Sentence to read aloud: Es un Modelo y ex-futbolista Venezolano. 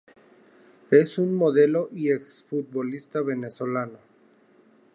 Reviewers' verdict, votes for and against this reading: accepted, 4, 0